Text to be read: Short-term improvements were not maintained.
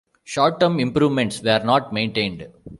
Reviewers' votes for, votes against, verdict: 2, 0, accepted